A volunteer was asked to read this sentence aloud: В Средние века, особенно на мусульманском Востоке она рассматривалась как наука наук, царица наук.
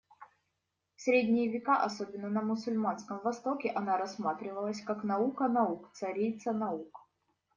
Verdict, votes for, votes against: accepted, 2, 0